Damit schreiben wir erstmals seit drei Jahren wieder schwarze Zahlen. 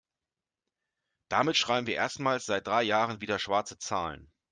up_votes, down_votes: 2, 0